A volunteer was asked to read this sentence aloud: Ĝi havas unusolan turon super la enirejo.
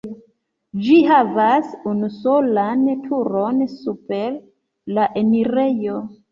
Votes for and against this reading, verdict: 2, 0, accepted